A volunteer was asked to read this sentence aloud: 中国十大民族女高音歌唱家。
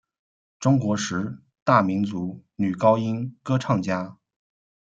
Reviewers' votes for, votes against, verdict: 0, 2, rejected